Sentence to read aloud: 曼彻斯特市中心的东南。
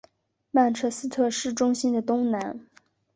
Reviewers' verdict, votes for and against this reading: accepted, 2, 0